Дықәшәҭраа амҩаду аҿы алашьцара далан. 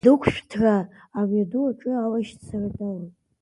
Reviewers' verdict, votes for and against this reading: rejected, 0, 2